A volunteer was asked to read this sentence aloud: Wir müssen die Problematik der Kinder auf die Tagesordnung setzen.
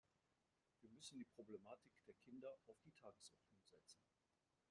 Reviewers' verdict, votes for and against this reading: rejected, 0, 2